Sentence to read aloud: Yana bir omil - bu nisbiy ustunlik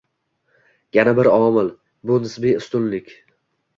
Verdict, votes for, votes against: accepted, 2, 0